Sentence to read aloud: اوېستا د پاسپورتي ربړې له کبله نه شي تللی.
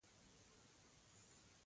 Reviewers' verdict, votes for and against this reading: accepted, 2, 0